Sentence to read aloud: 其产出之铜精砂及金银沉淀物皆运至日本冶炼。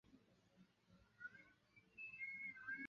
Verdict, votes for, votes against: rejected, 0, 2